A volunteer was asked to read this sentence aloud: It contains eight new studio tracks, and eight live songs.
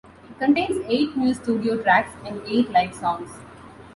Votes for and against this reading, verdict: 1, 2, rejected